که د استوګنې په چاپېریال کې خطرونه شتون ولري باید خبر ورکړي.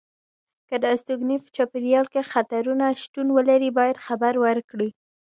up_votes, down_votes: 0, 2